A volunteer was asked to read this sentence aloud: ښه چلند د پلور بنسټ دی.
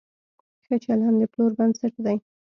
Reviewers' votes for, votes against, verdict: 2, 0, accepted